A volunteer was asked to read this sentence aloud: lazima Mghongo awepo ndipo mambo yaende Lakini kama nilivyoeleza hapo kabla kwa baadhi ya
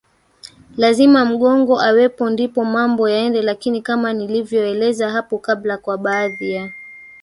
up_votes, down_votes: 1, 2